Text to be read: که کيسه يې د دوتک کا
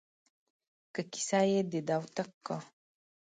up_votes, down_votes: 2, 0